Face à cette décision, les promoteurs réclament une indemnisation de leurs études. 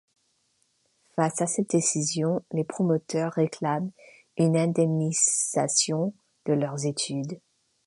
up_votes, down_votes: 1, 2